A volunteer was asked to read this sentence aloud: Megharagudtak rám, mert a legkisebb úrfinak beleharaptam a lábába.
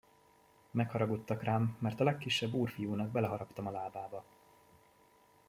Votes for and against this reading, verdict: 0, 2, rejected